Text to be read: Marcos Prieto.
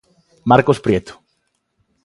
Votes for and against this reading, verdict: 2, 0, accepted